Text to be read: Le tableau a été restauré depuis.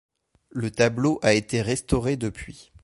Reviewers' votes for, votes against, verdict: 2, 0, accepted